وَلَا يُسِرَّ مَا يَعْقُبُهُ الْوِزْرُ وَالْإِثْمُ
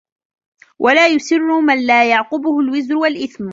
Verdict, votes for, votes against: rejected, 1, 2